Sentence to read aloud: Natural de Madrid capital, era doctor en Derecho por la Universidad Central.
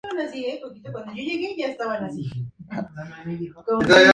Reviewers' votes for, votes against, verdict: 0, 2, rejected